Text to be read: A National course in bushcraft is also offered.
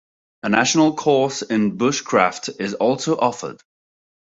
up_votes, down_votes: 2, 1